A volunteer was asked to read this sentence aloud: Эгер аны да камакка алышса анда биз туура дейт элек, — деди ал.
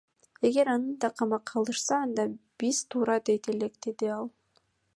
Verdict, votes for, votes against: rejected, 0, 2